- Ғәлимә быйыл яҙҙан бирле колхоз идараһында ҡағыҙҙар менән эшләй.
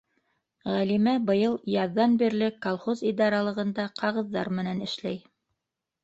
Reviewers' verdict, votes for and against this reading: rejected, 1, 2